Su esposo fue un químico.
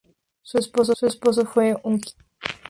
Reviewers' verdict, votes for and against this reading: rejected, 0, 2